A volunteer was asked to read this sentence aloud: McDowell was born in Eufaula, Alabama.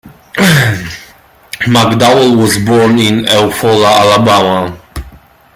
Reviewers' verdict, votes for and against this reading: rejected, 1, 2